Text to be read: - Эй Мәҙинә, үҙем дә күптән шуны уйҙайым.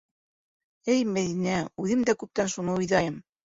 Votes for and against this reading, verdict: 3, 0, accepted